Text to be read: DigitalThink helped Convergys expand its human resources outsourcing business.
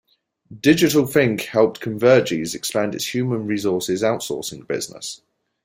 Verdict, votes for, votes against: accepted, 2, 0